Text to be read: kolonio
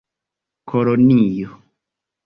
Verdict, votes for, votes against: accepted, 3, 1